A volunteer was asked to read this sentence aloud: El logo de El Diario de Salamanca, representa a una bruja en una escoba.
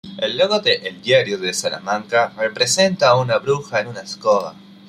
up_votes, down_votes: 2, 1